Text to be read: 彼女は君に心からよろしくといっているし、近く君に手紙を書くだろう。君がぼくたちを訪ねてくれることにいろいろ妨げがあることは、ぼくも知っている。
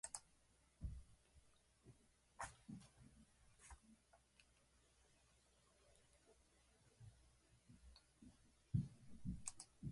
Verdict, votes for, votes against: rejected, 2, 4